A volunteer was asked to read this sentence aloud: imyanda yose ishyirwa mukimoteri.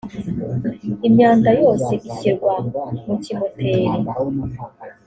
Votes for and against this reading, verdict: 2, 0, accepted